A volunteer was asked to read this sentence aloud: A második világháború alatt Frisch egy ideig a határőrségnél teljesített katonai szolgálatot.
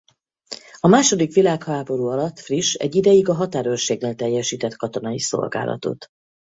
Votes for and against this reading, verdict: 2, 2, rejected